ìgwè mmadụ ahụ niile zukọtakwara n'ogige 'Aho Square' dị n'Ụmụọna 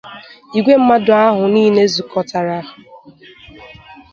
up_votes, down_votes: 0, 2